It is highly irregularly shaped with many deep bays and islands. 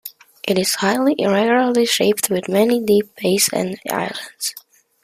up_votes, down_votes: 2, 1